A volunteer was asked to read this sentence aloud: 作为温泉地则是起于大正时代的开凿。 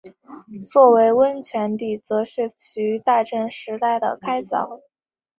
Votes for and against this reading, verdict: 3, 0, accepted